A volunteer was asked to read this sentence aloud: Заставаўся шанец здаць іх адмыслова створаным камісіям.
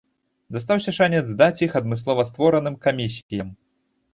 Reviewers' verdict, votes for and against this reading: rejected, 1, 2